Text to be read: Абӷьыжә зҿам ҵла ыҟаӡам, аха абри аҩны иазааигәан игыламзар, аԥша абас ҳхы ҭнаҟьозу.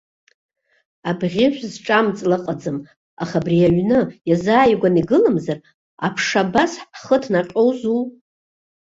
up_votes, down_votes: 2, 0